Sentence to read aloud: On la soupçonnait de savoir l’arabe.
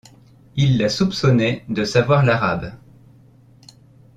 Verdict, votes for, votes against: rejected, 0, 2